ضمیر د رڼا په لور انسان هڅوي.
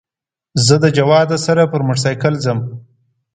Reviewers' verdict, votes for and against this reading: rejected, 1, 2